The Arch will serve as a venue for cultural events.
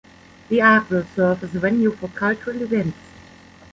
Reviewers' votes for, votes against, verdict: 1, 2, rejected